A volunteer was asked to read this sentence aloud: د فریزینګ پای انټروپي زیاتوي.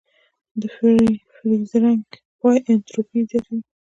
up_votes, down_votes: 1, 2